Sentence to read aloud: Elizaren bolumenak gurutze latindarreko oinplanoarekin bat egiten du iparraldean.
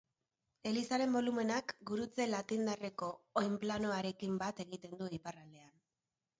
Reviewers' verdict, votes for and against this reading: accepted, 4, 0